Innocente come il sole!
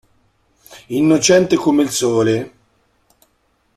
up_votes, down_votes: 2, 0